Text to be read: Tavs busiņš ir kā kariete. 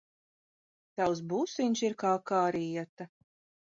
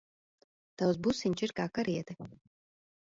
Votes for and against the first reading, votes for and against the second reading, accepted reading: 2, 0, 1, 2, first